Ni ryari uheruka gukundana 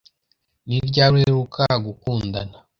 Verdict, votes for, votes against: accepted, 2, 0